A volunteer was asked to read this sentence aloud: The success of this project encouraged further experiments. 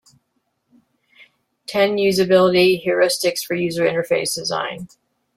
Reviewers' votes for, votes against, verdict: 0, 2, rejected